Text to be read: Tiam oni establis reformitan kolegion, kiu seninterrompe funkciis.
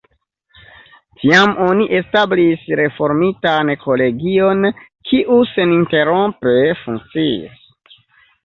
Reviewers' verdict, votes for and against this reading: accepted, 2, 1